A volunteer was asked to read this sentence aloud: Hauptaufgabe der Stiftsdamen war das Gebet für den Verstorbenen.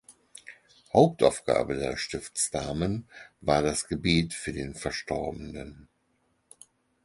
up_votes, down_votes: 6, 0